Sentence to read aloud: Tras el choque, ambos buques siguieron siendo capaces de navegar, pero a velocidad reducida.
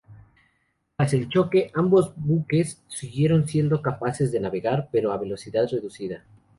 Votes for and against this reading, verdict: 0, 2, rejected